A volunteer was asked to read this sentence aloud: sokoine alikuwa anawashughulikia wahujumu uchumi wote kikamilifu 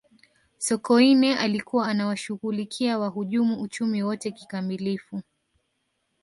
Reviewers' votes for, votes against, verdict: 2, 0, accepted